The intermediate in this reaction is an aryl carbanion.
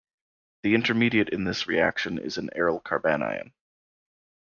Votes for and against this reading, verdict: 2, 0, accepted